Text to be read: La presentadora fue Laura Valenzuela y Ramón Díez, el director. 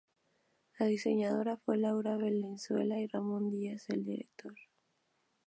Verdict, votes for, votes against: accepted, 2, 0